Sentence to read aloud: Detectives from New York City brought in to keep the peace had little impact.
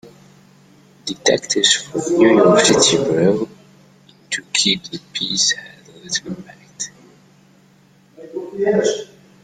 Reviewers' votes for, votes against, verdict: 0, 2, rejected